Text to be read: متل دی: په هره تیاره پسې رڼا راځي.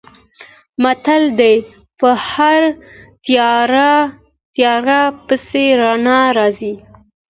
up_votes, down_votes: 2, 0